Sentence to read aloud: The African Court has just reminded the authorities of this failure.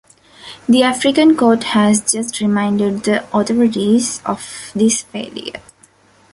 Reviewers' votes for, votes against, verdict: 2, 0, accepted